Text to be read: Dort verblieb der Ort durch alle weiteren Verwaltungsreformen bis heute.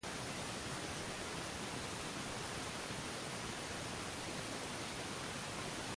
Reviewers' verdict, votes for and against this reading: rejected, 0, 2